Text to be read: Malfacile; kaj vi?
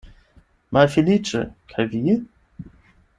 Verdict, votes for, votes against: rejected, 0, 8